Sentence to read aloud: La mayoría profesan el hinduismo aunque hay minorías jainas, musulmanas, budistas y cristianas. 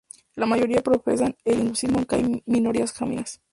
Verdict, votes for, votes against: rejected, 0, 2